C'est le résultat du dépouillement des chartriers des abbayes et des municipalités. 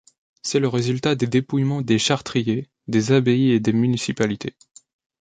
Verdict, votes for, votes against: rejected, 0, 3